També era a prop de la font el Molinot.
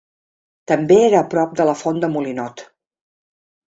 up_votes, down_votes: 1, 3